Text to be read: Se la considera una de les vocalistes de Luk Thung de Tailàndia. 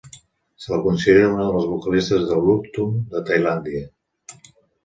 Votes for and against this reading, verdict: 2, 0, accepted